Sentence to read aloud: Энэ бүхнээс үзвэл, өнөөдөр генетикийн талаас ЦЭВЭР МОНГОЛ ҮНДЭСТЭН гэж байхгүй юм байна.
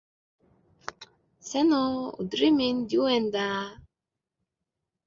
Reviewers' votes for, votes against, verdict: 1, 2, rejected